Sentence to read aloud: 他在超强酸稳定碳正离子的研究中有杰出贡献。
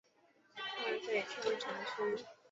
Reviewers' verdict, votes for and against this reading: rejected, 1, 2